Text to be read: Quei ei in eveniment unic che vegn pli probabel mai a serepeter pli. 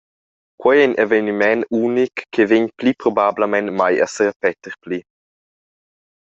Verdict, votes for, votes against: rejected, 0, 2